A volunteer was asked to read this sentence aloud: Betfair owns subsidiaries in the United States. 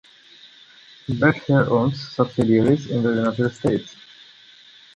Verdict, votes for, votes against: rejected, 0, 2